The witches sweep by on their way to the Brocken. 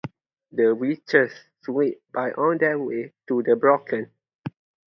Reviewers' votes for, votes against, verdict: 2, 0, accepted